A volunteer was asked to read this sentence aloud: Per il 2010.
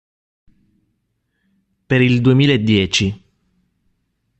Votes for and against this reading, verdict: 0, 2, rejected